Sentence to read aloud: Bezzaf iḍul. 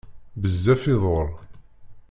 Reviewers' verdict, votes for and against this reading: rejected, 0, 2